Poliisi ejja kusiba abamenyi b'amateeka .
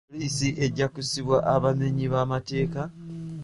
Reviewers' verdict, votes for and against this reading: accepted, 2, 1